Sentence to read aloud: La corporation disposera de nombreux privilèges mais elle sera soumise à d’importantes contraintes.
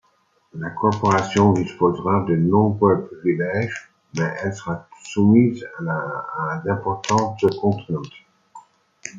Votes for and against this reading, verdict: 1, 2, rejected